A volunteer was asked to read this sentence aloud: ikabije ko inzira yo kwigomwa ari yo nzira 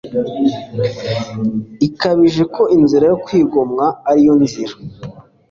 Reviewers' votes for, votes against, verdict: 2, 0, accepted